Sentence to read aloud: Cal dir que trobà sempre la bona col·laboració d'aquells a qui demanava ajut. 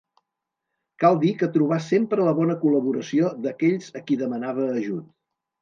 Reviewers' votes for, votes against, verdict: 3, 0, accepted